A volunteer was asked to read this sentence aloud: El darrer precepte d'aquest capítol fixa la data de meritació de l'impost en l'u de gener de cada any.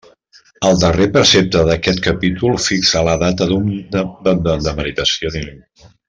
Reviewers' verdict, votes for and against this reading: rejected, 0, 2